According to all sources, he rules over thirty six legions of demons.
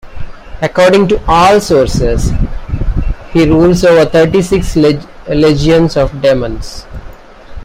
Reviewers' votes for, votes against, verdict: 0, 2, rejected